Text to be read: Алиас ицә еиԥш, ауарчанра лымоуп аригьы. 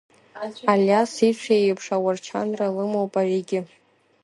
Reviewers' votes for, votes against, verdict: 1, 2, rejected